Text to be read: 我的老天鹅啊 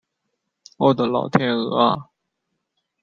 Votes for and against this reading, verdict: 2, 0, accepted